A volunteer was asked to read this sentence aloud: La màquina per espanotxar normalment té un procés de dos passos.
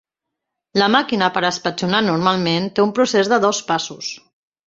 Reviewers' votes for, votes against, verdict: 0, 2, rejected